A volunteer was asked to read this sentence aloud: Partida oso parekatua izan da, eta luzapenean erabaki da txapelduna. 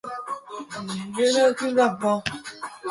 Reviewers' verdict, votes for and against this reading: rejected, 0, 2